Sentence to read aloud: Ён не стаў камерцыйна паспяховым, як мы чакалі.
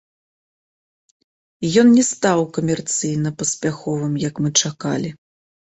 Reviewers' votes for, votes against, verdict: 1, 3, rejected